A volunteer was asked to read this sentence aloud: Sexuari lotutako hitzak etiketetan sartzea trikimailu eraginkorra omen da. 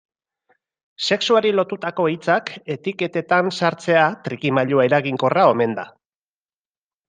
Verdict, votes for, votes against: accepted, 2, 0